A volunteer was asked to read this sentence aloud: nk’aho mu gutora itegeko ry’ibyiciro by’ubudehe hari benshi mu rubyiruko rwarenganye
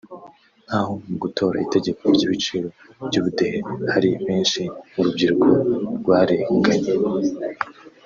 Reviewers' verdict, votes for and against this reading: rejected, 1, 2